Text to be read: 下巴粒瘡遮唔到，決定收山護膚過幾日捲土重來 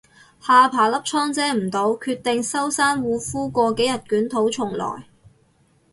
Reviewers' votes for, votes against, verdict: 2, 2, rejected